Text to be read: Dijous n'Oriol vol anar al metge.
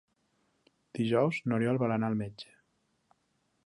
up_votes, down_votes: 4, 0